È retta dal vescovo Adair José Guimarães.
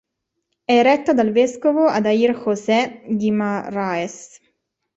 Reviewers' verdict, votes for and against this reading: rejected, 0, 2